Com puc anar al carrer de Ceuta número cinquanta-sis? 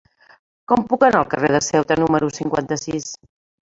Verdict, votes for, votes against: rejected, 1, 2